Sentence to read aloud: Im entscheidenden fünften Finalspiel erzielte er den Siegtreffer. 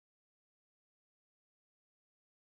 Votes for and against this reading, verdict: 0, 2, rejected